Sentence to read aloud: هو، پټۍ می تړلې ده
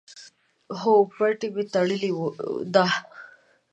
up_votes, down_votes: 2, 1